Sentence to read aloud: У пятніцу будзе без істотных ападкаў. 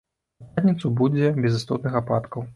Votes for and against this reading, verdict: 1, 2, rejected